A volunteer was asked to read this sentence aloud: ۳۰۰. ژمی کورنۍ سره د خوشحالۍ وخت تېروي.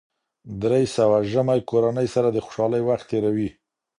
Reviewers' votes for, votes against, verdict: 0, 2, rejected